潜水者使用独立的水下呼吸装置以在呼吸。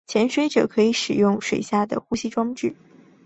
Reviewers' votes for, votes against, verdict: 0, 2, rejected